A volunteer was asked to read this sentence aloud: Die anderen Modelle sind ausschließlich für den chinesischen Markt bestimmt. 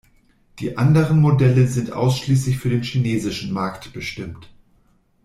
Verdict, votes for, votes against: accepted, 2, 0